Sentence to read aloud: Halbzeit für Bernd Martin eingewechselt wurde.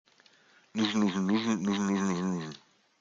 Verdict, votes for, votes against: rejected, 0, 2